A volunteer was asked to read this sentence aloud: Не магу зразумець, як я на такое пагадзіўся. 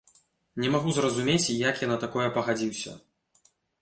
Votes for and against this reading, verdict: 2, 0, accepted